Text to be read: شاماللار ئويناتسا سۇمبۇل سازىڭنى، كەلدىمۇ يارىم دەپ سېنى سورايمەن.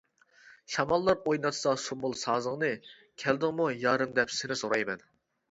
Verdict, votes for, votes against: rejected, 0, 2